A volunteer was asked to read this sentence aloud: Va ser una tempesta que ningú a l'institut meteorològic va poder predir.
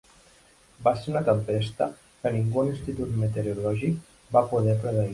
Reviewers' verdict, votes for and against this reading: rejected, 1, 2